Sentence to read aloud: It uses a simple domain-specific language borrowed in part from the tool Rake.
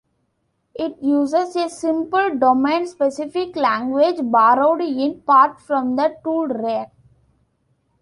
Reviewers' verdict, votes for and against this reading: accepted, 2, 0